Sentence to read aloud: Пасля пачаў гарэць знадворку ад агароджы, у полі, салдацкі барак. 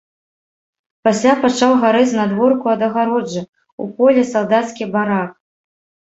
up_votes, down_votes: 2, 0